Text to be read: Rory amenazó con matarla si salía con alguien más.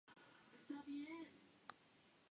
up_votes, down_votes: 0, 4